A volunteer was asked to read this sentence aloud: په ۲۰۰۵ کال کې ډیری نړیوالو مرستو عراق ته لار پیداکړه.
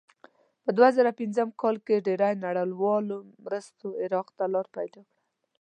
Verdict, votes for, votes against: rejected, 0, 2